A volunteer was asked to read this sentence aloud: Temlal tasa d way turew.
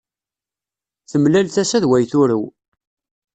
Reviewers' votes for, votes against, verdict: 2, 0, accepted